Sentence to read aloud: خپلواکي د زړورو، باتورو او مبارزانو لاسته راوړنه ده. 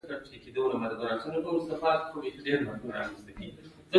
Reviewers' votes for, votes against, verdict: 1, 2, rejected